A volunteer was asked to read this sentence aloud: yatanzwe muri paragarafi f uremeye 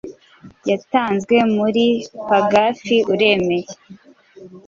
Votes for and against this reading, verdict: 2, 1, accepted